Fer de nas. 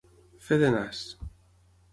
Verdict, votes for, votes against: accepted, 6, 0